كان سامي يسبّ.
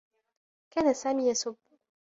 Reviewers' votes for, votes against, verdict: 2, 0, accepted